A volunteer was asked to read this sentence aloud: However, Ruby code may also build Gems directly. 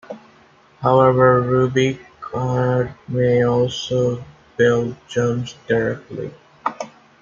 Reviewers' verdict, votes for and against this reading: rejected, 0, 2